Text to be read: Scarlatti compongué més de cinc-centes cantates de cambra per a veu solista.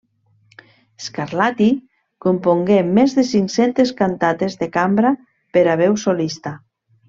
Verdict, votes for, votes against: accepted, 2, 0